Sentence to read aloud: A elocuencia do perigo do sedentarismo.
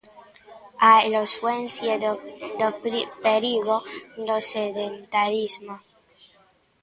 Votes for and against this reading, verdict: 0, 2, rejected